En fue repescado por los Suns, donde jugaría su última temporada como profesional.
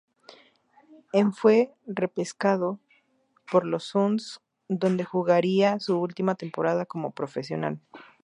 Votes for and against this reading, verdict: 2, 0, accepted